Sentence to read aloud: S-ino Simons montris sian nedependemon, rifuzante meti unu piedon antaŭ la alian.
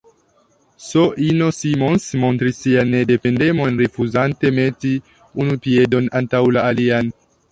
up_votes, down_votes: 2, 1